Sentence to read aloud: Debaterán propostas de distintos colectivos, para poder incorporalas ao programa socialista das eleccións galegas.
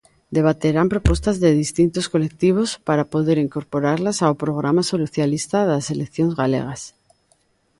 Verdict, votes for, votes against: accepted, 2, 1